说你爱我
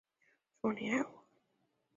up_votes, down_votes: 2, 4